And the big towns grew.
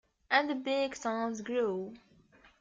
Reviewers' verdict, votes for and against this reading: rejected, 0, 2